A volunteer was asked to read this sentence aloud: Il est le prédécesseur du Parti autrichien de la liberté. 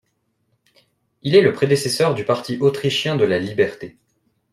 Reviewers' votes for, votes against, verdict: 2, 0, accepted